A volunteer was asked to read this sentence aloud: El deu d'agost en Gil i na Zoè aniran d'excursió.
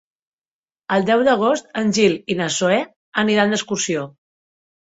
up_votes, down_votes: 5, 0